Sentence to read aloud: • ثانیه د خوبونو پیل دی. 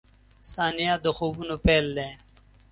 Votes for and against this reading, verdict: 2, 0, accepted